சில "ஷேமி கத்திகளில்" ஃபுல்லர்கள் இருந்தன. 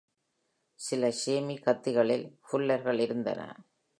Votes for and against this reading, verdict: 2, 0, accepted